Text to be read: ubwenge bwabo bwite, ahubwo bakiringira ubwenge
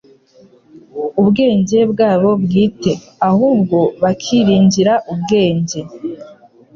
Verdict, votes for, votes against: accepted, 2, 0